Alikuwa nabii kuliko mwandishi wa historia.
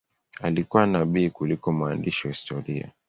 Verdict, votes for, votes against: accepted, 2, 0